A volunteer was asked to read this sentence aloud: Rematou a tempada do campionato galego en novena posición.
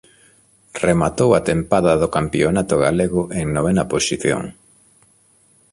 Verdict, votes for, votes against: accepted, 2, 0